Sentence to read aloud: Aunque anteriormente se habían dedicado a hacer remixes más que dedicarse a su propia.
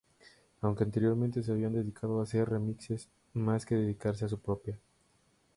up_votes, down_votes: 0, 4